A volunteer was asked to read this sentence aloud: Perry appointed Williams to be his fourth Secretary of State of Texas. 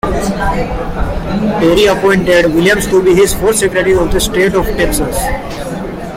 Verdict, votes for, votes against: accepted, 2, 0